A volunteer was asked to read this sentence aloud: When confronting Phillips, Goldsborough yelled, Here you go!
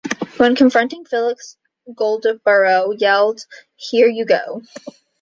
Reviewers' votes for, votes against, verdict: 1, 2, rejected